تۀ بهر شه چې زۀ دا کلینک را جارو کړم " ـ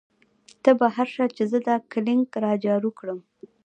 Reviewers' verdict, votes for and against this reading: accepted, 2, 0